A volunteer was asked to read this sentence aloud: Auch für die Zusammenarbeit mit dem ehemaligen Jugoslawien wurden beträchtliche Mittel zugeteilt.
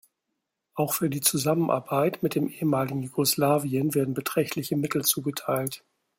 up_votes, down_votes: 1, 2